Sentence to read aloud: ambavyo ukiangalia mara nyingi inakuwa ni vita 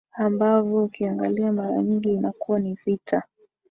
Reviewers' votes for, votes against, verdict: 2, 0, accepted